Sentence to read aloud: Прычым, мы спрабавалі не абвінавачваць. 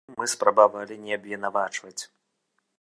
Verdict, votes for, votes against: rejected, 0, 2